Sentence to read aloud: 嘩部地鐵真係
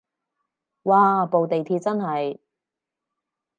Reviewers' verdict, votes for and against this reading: accepted, 4, 0